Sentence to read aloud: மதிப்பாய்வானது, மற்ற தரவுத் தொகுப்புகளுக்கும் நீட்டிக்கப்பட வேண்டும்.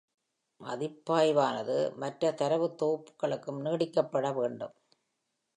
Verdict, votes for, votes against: accepted, 2, 0